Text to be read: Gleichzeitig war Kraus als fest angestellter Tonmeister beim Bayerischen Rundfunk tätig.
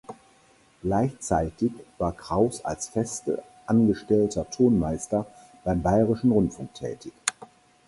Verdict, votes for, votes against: rejected, 0, 4